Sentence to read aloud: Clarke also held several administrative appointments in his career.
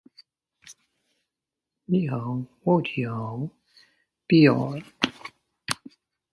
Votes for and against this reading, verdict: 0, 2, rejected